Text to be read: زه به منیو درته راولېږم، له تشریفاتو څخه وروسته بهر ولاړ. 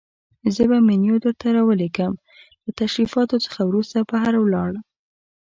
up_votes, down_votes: 2, 0